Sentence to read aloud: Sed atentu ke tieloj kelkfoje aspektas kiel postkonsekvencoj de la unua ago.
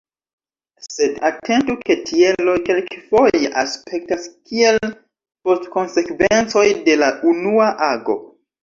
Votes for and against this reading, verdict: 2, 1, accepted